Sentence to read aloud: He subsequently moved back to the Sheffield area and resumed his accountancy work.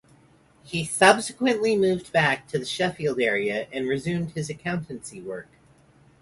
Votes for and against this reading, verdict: 4, 0, accepted